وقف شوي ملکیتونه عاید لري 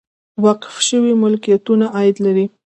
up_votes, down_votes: 2, 0